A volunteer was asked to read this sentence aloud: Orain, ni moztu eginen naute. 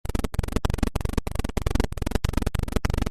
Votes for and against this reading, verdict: 0, 2, rejected